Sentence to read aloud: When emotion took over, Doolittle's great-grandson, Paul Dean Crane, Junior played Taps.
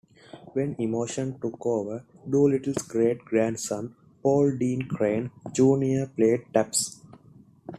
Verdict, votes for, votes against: accepted, 2, 0